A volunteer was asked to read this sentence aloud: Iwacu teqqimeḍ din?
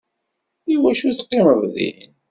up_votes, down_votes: 2, 0